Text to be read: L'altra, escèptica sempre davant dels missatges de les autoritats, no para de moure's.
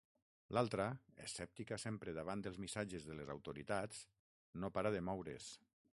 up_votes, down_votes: 6, 0